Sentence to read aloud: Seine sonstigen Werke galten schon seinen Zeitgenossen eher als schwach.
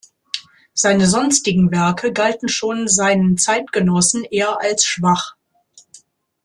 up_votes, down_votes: 2, 0